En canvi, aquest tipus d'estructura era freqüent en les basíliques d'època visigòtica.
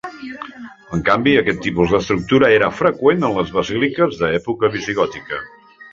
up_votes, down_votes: 1, 2